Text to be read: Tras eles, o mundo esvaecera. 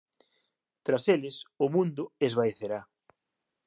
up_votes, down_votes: 0, 2